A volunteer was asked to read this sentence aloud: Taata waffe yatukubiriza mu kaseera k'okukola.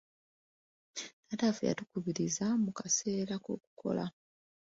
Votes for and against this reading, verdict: 2, 0, accepted